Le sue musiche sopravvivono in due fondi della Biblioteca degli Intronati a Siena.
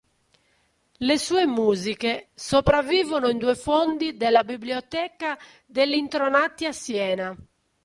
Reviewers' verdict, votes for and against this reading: rejected, 1, 2